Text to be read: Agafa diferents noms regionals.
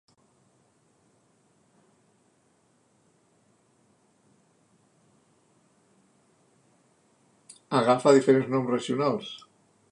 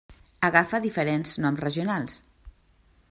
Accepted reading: second